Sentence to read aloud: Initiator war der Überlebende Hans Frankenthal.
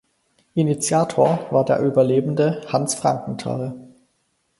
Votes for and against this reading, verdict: 4, 0, accepted